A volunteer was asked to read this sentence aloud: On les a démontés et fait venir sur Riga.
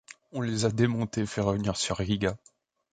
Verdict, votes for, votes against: rejected, 0, 2